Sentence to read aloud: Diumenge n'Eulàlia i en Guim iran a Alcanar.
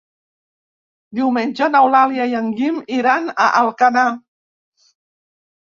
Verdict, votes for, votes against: accepted, 2, 0